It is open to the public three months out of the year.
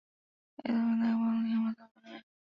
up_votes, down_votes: 0, 2